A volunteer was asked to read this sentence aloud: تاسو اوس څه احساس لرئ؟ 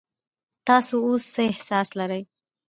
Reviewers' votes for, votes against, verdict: 0, 2, rejected